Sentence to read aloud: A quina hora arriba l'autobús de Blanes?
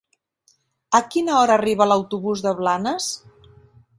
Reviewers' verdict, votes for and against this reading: accepted, 3, 0